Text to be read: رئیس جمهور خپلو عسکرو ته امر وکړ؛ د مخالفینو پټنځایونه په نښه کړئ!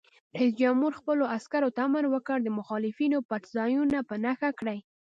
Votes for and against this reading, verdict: 2, 0, accepted